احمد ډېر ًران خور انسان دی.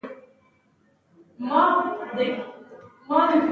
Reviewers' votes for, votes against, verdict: 0, 2, rejected